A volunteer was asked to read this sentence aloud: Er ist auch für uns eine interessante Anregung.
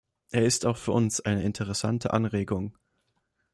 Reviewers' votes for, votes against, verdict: 2, 0, accepted